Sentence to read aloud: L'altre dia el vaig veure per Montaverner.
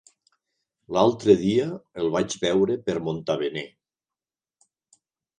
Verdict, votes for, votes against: rejected, 1, 3